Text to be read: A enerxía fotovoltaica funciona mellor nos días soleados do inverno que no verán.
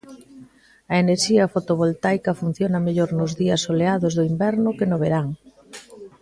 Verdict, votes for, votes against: accepted, 2, 0